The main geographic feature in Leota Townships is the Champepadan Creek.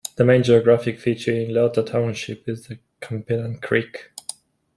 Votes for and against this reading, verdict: 0, 2, rejected